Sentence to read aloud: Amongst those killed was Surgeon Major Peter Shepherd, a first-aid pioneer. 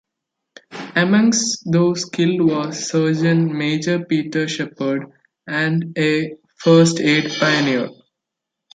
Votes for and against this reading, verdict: 1, 2, rejected